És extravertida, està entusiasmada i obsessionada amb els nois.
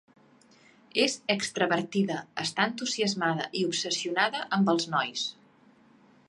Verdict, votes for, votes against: accepted, 2, 0